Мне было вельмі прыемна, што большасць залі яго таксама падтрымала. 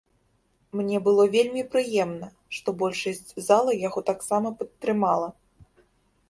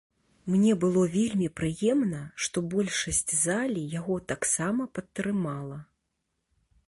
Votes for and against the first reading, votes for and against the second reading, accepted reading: 1, 2, 2, 0, second